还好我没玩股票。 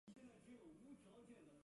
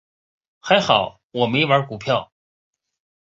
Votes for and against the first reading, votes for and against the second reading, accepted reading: 0, 2, 2, 0, second